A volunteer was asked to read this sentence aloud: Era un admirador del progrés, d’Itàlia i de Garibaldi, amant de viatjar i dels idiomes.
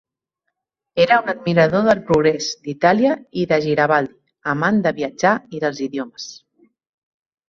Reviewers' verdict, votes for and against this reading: rejected, 0, 2